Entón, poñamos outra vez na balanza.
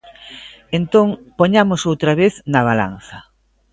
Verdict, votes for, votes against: accepted, 2, 0